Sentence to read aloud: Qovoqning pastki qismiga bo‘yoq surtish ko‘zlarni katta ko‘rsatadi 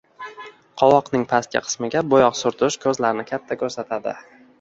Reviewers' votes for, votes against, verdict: 0, 2, rejected